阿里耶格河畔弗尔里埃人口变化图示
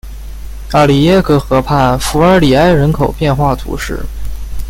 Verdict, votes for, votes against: rejected, 1, 2